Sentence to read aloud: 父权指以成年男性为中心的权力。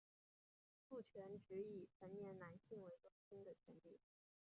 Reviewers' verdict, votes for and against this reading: rejected, 0, 3